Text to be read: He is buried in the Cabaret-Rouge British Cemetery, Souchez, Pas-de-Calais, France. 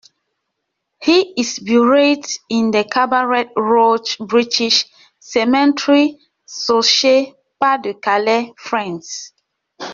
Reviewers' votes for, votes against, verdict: 1, 2, rejected